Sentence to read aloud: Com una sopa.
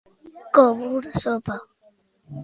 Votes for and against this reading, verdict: 3, 0, accepted